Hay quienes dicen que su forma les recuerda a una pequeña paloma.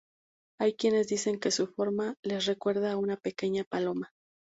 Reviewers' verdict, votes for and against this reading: accepted, 2, 0